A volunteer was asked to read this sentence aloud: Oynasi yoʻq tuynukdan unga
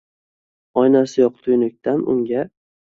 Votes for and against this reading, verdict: 2, 0, accepted